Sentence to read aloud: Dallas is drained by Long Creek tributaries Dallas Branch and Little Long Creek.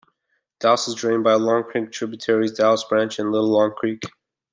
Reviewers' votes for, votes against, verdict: 0, 2, rejected